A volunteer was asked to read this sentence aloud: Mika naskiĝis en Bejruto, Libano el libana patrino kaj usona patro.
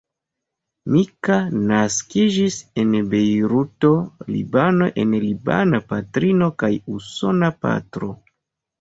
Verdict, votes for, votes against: rejected, 0, 2